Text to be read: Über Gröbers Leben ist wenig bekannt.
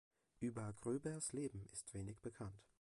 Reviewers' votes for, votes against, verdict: 2, 0, accepted